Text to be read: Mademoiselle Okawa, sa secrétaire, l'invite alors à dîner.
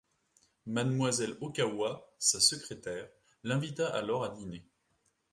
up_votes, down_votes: 1, 2